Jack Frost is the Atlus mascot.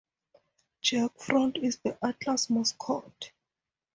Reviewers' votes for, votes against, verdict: 2, 2, rejected